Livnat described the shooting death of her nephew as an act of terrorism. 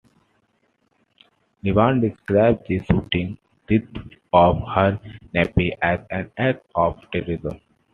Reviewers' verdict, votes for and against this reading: rejected, 1, 2